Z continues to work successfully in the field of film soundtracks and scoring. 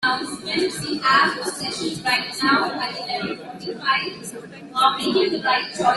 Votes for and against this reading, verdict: 0, 2, rejected